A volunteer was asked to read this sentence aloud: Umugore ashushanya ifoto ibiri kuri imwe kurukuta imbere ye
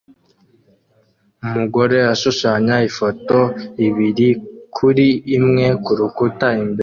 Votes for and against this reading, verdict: 1, 2, rejected